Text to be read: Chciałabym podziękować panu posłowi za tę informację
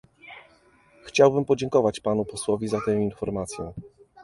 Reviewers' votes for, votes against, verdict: 0, 2, rejected